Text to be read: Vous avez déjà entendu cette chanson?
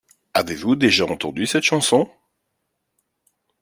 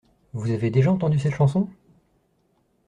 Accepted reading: second